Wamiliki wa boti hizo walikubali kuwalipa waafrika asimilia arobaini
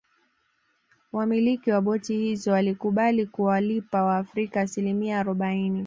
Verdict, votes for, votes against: accepted, 2, 0